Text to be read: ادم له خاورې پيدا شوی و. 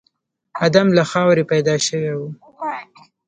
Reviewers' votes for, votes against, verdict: 1, 2, rejected